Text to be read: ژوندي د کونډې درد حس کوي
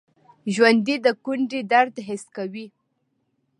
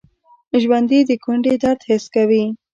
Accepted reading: first